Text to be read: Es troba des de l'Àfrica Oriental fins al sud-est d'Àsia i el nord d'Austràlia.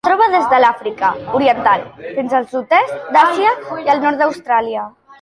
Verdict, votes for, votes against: rejected, 0, 2